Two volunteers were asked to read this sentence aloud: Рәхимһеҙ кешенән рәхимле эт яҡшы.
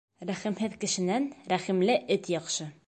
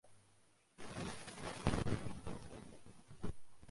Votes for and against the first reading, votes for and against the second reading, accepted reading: 2, 0, 0, 2, first